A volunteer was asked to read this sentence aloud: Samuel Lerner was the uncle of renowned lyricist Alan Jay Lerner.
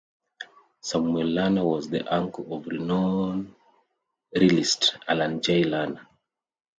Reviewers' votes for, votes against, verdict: 0, 2, rejected